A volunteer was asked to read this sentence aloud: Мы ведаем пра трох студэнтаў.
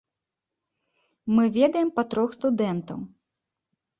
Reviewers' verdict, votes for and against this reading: rejected, 0, 2